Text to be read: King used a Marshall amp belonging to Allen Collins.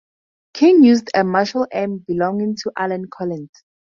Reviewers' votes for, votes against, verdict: 4, 0, accepted